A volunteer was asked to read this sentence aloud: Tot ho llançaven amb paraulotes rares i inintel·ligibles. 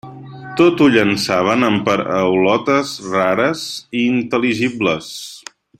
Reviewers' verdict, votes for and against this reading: rejected, 1, 2